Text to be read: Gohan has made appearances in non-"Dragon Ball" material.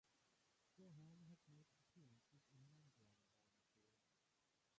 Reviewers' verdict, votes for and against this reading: rejected, 0, 2